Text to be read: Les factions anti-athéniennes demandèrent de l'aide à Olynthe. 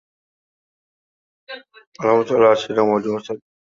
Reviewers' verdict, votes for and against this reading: rejected, 0, 2